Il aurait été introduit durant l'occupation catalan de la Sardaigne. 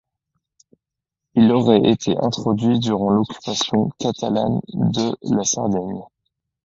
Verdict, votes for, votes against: accepted, 2, 0